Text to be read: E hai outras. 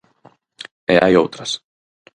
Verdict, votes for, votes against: accepted, 4, 0